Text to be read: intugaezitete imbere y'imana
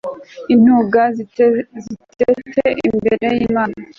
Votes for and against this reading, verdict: 0, 2, rejected